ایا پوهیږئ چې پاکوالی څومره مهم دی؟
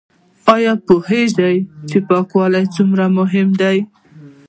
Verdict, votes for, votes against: accepted, 2, 1